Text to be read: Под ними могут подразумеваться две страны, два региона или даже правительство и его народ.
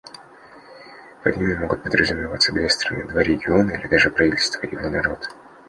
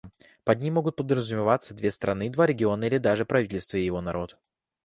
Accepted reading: second